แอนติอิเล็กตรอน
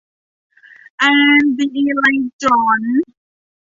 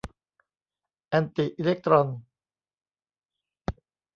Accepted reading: second